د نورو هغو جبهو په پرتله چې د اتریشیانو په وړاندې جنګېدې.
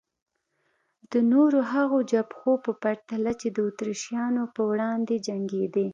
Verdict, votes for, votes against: accepted, 2, 0